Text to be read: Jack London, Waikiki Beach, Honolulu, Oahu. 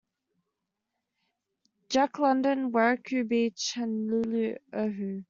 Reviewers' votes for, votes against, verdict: 1, 2, rejected